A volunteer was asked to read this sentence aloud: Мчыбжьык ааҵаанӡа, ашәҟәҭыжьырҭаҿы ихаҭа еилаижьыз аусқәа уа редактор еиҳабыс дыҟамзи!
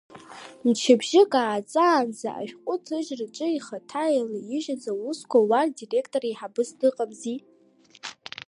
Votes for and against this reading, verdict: 2, 1, accepted